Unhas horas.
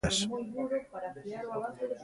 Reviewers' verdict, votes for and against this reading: rejected, 0, 2